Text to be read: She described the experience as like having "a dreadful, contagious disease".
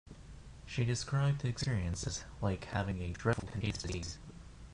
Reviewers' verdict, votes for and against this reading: rejected, 1, 2